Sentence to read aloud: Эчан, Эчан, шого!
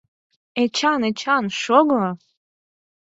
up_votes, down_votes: 4, 0